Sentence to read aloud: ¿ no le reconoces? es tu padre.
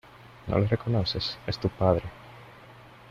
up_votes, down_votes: 2, 0